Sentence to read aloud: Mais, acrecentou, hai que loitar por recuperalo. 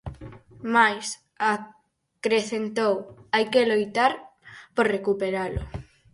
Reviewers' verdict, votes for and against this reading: rejected, 2, 4